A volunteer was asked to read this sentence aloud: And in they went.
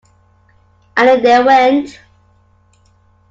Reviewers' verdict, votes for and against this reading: accepted, 2, 0